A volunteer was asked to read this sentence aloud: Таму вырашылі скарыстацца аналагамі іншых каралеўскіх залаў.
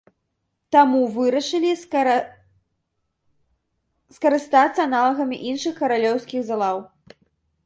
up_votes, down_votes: 0, 2